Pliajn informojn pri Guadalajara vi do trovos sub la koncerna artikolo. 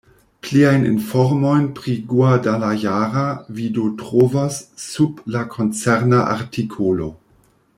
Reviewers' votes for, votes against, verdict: 0, 2, rejected